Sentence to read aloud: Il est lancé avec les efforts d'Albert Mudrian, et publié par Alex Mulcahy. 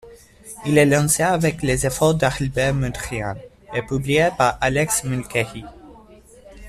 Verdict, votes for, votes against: accepted, 2, 0